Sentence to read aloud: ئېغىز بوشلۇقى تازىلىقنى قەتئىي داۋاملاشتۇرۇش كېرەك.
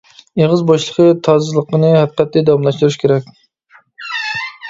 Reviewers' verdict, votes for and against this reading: rejected, 1, 2